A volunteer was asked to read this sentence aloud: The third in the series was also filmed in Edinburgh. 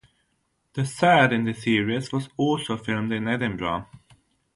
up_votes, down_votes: 3, 0